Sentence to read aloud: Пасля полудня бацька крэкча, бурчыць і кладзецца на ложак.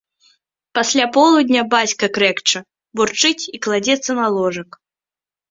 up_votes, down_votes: 4, 0